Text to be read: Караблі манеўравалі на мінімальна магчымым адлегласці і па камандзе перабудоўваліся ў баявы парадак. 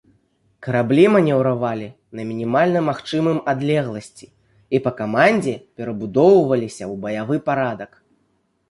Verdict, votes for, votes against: accepted, 2, 0